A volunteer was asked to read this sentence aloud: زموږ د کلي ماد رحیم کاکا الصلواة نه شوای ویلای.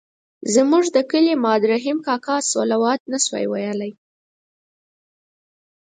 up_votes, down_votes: 6, 2